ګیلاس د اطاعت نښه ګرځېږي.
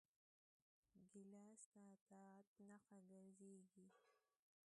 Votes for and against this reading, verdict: 0, 2, rejected